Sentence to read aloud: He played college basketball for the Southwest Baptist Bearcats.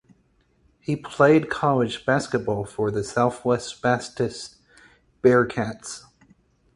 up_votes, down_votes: 2, 4